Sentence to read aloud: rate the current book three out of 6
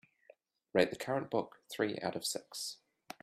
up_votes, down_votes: 0, 2